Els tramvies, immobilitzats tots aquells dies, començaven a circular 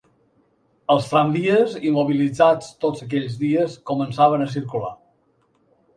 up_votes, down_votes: 2, 0